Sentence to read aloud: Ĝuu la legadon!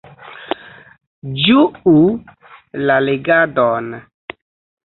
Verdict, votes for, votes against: rejected, 0, 2